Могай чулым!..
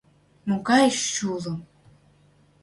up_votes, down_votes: 2, 0